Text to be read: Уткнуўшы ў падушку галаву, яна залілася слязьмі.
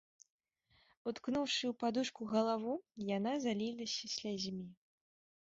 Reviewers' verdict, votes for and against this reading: rejected, 1, 2